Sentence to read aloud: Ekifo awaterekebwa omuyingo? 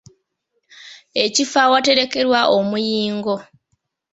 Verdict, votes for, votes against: accepted, 2, 0